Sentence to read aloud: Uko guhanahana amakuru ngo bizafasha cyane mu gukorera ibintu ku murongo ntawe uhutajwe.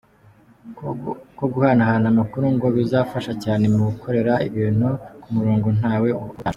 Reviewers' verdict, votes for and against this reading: rejected, 1, 2